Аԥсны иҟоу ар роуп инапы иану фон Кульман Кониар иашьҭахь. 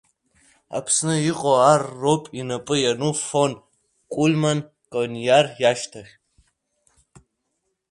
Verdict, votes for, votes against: accepted, 2, 0